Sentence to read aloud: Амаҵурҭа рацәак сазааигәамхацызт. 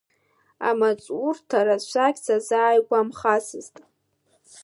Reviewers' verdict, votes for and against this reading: rejected, 0, 2